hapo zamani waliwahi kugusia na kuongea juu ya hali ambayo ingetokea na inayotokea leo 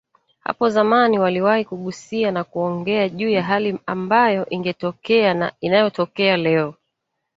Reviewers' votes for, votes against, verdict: 2, 1, accepted